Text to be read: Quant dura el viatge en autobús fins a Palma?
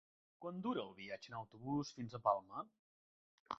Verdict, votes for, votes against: accepted, 3, 0